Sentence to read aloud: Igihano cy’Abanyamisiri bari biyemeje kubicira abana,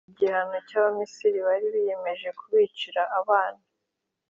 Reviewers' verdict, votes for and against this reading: accepted, 2, 0